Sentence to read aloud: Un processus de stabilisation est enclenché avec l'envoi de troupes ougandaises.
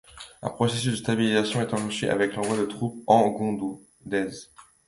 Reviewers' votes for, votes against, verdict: 0, 2, rejected